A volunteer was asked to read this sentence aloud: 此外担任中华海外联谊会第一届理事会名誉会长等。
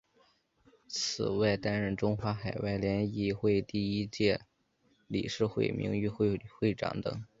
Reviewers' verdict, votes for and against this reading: accepted, 3, 0